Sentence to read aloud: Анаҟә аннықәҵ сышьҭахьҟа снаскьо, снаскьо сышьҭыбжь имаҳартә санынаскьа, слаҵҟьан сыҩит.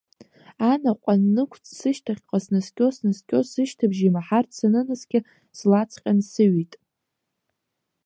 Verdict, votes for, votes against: accepted, 2, 1